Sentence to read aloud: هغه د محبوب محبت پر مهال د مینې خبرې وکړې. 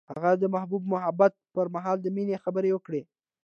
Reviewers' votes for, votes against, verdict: 2, 0, accepted